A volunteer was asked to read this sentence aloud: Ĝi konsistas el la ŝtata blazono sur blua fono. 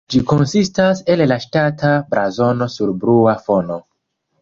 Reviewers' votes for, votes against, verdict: 2, 1, accepted